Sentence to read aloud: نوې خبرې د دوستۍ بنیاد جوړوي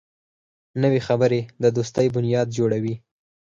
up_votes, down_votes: 4, 0